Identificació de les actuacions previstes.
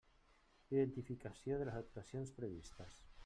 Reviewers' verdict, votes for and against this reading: rejected, 1, 2